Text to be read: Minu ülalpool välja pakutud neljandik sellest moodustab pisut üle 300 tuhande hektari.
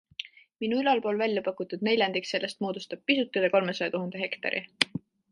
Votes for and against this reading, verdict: 0, 2, rejected